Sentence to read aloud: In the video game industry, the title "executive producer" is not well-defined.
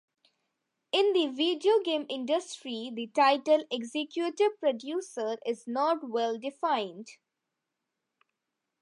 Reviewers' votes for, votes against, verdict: 3, 1, accepted